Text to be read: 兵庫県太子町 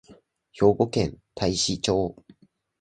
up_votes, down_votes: 2, 0